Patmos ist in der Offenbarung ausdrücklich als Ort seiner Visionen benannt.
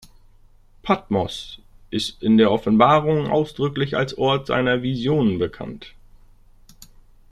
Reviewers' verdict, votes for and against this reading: rejected, 0, 2